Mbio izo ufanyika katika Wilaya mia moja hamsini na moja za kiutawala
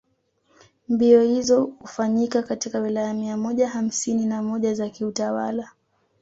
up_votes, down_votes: 2, 0